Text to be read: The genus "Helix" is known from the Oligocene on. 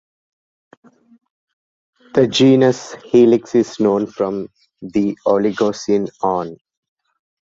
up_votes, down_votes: 2, 0